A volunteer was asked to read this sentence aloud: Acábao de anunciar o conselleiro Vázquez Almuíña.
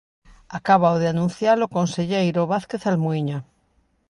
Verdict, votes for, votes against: accepted, 3, 0